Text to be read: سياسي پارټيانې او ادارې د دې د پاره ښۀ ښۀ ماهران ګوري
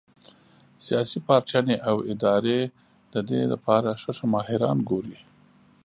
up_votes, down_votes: 0, 2